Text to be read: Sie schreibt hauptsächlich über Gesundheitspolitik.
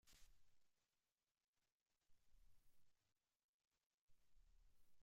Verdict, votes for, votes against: rejected, 0, 2